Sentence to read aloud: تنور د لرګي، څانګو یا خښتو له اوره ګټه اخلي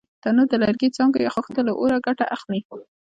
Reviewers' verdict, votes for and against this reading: accepted, 2, 0